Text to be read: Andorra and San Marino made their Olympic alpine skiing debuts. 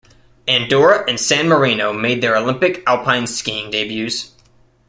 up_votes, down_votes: 2, 0